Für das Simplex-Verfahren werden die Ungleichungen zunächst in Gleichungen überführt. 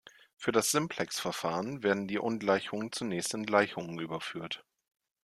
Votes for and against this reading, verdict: 2, 0, accepted